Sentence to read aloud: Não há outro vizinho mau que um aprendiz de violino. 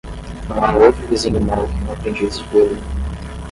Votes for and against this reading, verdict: 5, 5, rejected